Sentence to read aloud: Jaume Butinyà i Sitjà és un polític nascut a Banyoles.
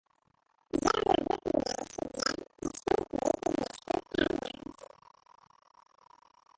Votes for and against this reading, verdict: 0, 3, rejected